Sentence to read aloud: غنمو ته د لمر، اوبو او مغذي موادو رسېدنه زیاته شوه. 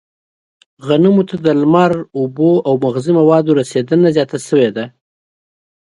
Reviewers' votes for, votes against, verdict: 1, 2, rejected